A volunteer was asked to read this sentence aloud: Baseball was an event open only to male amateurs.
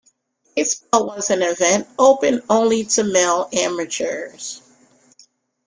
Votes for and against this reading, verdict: 1, 2, rejected